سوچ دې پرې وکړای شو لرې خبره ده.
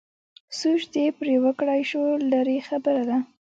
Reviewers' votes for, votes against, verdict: 1, 2, rejected